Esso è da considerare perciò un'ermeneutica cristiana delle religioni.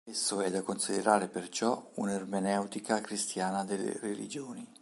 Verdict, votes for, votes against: accepted, 3, 0